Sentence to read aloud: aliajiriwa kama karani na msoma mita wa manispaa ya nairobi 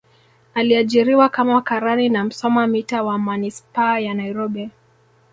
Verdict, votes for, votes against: accepted, 2, 0